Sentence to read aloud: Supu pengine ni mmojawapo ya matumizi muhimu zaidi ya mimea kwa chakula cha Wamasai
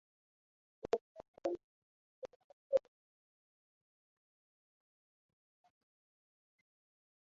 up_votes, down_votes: 0, 2